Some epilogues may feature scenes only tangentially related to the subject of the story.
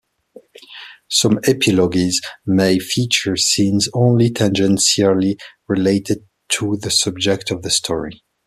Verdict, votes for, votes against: accepted, 2, 1